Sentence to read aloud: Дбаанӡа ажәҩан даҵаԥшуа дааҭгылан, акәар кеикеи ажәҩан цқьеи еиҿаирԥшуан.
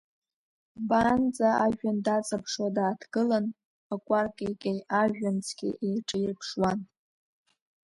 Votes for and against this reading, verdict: 2, 0, accepted